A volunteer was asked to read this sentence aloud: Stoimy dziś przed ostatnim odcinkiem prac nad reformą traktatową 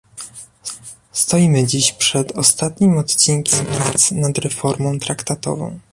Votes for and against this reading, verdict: 0, 2, rejected